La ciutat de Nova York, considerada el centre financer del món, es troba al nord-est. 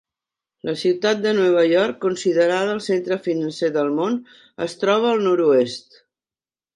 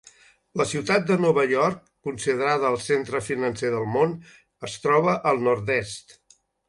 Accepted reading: second